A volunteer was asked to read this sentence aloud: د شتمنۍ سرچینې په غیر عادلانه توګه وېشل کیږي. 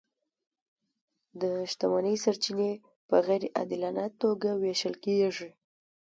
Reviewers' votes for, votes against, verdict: 2, 1, accepted